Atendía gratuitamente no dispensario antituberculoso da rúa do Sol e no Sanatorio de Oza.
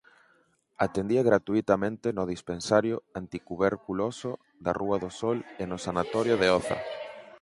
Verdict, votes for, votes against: rejected, 0, 4